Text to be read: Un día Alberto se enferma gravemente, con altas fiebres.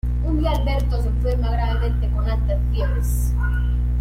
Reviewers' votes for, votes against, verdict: 0, 2, rejected